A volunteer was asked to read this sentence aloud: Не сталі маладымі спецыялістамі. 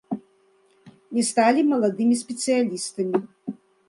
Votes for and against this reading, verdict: 2, 0, accepted